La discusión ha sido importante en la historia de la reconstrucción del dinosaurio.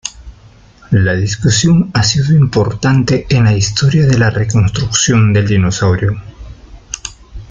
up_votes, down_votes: 2, 0